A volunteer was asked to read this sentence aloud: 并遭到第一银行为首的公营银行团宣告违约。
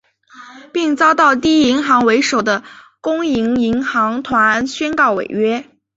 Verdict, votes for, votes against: accepted, 3, 0